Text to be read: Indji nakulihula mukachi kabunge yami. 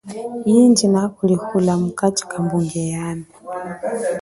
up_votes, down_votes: 1, 2